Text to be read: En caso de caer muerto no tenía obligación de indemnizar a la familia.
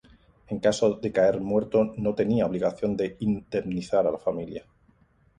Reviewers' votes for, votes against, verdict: 2, 0, accepted